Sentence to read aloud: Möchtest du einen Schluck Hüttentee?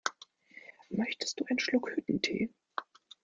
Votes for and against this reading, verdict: 0, 2, rejected